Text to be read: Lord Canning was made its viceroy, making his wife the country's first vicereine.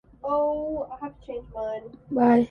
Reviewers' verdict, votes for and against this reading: rejected, 0, 2